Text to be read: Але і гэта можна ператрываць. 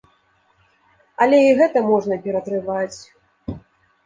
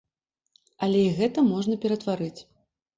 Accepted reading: first